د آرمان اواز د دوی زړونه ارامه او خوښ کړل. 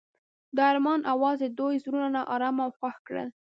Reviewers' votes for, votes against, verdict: 1, 2, rejected